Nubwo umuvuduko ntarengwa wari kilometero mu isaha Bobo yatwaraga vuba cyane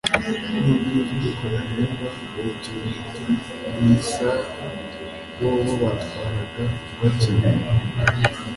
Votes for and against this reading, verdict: 1, 2, rejected